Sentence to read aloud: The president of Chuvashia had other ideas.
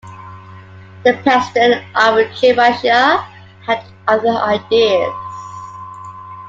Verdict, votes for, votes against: rejected, 1, 2